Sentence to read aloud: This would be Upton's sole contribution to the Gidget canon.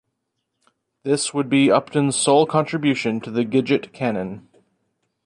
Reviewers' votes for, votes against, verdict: 2, 0, accepted